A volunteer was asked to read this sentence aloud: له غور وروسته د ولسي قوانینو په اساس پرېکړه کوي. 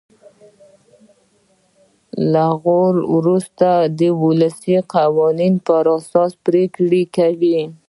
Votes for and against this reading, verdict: 0, 2, rejected